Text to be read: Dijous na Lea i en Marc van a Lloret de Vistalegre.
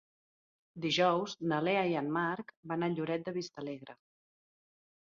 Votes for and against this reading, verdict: 3, 0, accepted